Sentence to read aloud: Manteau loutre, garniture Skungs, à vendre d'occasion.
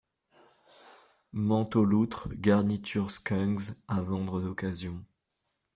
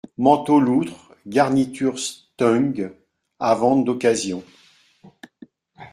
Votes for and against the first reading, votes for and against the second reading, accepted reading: 2, 0, 0, 2, first